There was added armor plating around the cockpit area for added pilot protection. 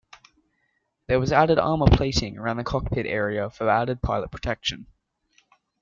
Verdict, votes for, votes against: accepted, 2, 0